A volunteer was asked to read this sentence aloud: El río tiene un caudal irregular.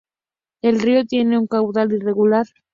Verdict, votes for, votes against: accepted, 2, 0